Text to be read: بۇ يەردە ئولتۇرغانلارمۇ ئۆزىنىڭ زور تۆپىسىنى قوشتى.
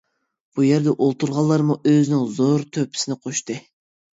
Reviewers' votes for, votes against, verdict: 2, 0, accepted